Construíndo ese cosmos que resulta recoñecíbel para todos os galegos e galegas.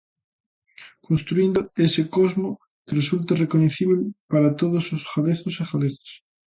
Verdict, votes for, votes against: rejected, 1, 2